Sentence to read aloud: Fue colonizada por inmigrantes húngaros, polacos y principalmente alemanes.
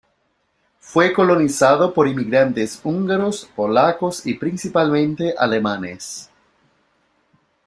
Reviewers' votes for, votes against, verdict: 2, 0, accepted